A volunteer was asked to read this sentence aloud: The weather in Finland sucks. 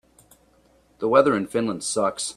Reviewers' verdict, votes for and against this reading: accepted, 2, 0